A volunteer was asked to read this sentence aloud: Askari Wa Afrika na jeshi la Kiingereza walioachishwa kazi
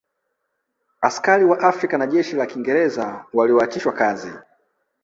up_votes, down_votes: 4, 0